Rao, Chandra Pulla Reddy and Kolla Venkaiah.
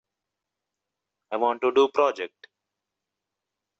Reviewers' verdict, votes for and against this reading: rejected, 0, 2